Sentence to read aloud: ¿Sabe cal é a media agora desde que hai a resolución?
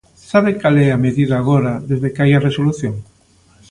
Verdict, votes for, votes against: rejected, 0, 2